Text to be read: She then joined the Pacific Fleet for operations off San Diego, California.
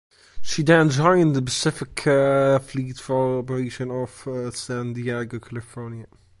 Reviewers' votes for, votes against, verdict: 0, 2, rejected